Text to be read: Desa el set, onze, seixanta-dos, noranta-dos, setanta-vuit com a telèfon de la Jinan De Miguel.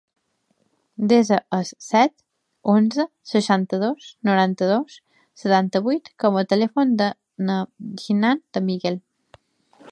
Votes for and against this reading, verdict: 1, 2, rejected